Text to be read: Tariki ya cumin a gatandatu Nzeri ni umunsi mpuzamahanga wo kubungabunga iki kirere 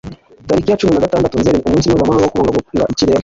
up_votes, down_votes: 0, 2